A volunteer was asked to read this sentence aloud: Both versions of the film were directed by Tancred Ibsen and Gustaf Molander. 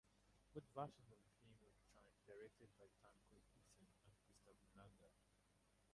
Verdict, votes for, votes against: rejected, 0, 4